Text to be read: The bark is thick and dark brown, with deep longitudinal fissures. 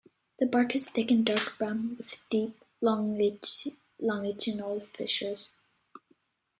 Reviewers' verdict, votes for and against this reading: rejected, 0, 2